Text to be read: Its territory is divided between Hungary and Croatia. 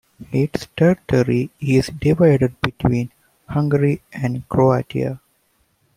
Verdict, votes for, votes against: rejected, 1, 2